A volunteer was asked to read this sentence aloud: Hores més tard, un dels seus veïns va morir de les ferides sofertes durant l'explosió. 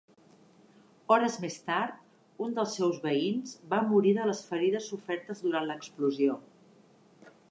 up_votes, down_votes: 3, 0